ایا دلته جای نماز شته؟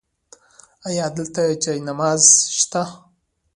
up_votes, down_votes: 2, 1